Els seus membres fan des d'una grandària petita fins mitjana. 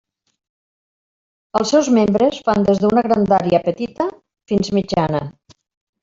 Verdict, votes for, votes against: rejected, 0, 2